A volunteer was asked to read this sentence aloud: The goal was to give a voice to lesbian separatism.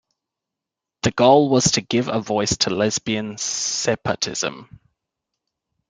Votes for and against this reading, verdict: 0, 2, rejected